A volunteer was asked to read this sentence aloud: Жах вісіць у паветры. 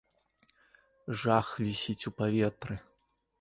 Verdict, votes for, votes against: accepted, 2, 0